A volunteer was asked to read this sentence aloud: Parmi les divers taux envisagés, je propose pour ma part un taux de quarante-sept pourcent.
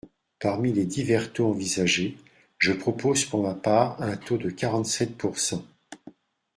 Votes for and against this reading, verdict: 2, 0, accepted